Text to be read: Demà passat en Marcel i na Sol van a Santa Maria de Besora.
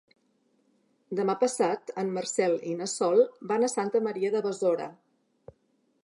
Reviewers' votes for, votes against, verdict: 3, 0, accepted